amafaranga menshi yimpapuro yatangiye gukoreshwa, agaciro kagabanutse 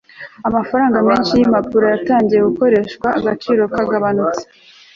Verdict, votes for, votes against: accepted, 2, 0